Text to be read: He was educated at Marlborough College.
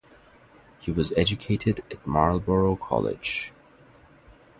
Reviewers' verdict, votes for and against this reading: accepted, 2, 0